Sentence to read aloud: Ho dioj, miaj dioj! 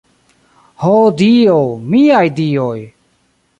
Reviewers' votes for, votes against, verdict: 1, 2, rejected